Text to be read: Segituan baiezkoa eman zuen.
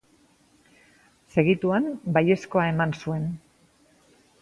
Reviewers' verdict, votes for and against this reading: accepted, 2, 0